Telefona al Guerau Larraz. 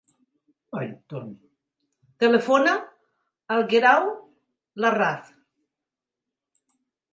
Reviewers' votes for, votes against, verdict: 5, 2, accepted